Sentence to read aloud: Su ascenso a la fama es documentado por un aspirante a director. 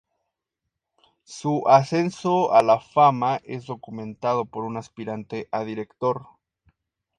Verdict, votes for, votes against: accepted, 4, 0